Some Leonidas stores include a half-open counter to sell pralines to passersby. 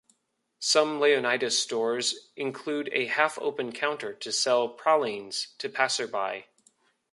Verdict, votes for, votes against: rejected, 1, 2